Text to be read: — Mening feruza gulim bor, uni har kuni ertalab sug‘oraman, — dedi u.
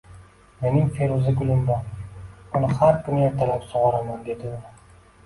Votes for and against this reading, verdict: 1, 2, rejected